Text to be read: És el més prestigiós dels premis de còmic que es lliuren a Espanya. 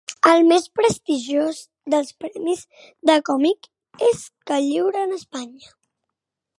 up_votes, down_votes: 1, 2